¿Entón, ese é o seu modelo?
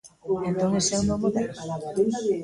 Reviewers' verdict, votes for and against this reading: rejected, 0, 2